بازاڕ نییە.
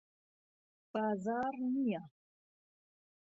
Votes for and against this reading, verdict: 2, 0, accepted